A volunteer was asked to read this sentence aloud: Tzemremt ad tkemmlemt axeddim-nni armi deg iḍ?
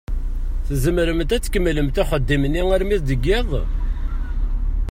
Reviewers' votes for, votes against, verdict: 2, 0, accepted